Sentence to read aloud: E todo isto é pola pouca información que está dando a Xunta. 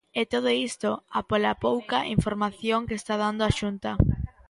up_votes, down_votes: 0, 2